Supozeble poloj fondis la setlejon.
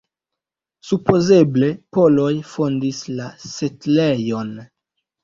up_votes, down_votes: 1, 2